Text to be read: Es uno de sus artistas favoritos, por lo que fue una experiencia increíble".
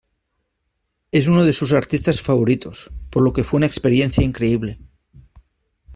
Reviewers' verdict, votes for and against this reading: accepted, 2, 0